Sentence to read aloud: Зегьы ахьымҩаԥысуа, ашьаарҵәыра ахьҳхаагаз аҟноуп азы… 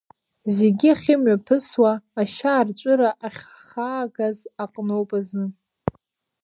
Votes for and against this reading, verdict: 1, 2, rejected